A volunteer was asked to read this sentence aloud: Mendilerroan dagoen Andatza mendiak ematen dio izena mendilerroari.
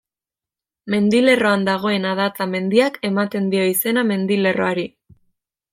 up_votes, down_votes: 1, 2